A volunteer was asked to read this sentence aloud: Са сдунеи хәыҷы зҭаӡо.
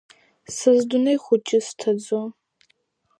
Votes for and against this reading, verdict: 3, 0, accepted